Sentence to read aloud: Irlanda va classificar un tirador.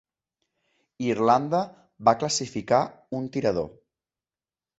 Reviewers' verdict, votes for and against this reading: accepted, 2, 0